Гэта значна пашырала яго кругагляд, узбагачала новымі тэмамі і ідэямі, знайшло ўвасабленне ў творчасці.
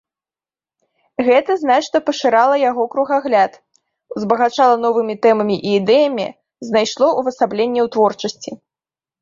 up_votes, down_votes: 2, 0